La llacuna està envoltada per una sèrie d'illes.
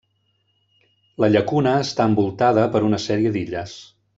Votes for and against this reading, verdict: 3, 0, accepted